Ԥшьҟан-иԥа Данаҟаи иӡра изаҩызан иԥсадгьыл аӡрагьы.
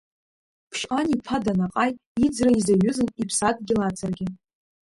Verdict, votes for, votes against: rejected, 0, 2